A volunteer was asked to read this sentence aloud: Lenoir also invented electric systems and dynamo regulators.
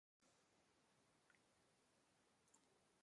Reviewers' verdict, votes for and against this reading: rejected, 0, 2